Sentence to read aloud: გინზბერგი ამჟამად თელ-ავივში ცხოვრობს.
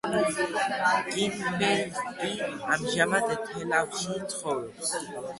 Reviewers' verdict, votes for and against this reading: rejected, 1, 2